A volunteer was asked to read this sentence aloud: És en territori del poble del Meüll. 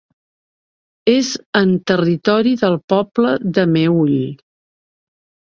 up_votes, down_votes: 4, 2